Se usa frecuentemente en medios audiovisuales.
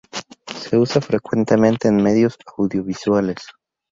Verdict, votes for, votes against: rejected, 0, 2